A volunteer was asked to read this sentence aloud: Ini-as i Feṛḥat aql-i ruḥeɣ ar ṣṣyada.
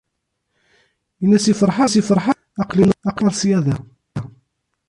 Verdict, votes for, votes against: rejected, 0, 2